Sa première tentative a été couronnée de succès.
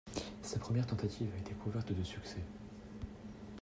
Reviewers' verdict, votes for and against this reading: rejected, 0, 2